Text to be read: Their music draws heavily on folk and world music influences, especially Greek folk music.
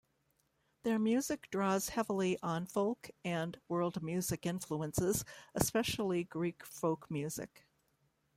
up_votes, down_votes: 2, 0